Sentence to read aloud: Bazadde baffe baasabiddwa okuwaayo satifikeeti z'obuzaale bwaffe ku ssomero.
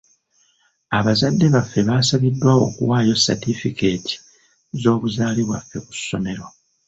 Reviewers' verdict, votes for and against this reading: rejected, 0, 2